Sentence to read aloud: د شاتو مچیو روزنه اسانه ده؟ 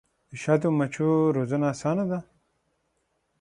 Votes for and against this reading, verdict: 6, 0, accepted